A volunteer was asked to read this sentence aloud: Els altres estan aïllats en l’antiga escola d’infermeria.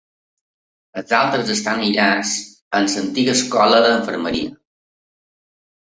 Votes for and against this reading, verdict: 4, 1, accepted